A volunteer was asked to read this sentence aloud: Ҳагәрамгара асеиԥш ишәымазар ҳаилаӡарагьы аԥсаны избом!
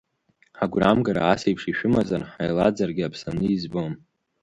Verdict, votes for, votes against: accepted, 3, 1